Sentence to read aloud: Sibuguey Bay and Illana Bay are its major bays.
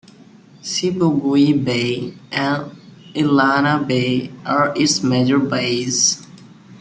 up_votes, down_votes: 0, 2